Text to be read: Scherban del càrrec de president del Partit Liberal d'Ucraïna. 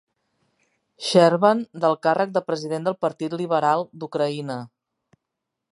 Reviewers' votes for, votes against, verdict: 2, 0, accepted